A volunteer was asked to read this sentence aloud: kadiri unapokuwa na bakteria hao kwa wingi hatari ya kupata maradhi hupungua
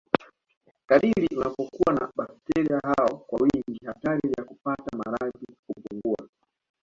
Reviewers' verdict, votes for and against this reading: accepted, 2, 0